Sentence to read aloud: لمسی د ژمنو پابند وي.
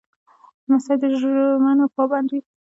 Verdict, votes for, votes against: rejected, 0, 2